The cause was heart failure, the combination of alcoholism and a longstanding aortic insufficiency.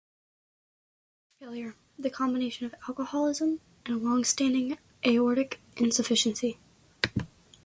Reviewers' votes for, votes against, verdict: 1, 2, rejected